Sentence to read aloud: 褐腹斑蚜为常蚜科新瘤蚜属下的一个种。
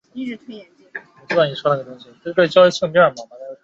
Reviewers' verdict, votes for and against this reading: accepted, 2, 1